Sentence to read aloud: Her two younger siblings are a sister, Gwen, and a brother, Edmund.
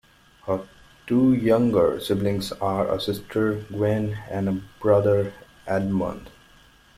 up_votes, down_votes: 2, 0